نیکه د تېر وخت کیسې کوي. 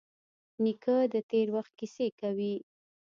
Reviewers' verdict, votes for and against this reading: rejected, 1, 2